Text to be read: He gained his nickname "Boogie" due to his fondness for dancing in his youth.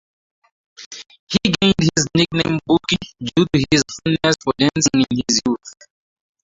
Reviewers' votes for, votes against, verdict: 0, 2, rejected